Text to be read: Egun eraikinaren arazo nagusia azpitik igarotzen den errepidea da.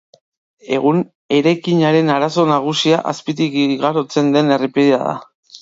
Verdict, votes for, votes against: accepted, 2, 0